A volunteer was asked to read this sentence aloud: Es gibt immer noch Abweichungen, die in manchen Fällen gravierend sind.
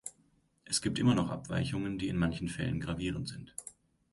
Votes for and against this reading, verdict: 2, 0, accepted